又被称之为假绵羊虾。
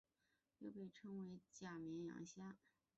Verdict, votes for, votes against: rejected, 1, 2